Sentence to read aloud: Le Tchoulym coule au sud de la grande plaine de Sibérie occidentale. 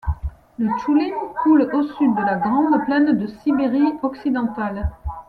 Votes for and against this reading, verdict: 2, 0, accepted